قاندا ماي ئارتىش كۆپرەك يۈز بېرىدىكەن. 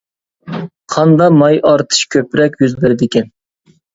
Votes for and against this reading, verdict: 2, 0, accepted